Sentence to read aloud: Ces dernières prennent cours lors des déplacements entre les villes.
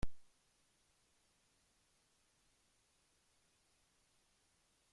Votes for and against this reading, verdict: 0, 2, rejected